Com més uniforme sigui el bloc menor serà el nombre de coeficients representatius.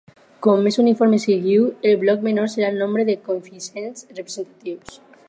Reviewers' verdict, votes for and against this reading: rejected, 0, 6